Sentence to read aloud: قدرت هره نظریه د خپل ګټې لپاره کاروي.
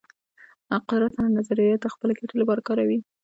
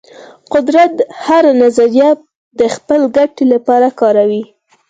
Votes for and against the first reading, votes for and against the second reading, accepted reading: 1, 2, 4, 0, second